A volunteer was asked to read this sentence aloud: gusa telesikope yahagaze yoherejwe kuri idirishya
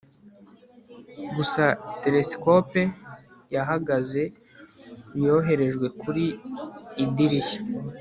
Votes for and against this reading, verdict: 2, 0, accepted